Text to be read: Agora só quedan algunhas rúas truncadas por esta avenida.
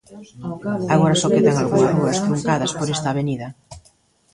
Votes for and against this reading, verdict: 0, 2, rejected